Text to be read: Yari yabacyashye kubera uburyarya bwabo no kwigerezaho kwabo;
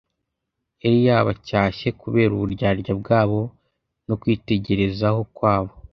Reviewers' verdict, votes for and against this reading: rejected, 1, 2